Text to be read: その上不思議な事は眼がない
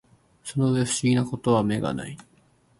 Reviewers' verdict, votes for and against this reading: accepted, 2, 0